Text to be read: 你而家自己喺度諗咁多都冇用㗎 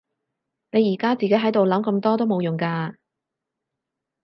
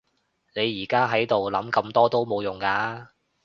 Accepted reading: first